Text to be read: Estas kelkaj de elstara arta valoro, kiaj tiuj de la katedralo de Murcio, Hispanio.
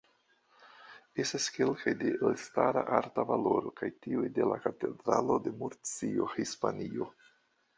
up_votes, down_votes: 0, 2